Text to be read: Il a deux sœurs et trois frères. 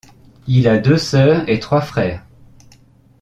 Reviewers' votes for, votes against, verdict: 2, 0, accepted